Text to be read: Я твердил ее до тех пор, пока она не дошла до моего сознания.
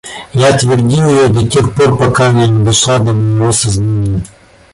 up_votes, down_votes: 0, 2